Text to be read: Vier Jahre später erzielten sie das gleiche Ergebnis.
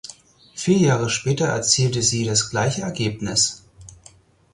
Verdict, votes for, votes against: rejected, 0, 4